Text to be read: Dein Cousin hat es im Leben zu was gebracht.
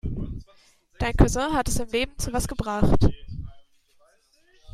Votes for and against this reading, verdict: 2, 0, accepted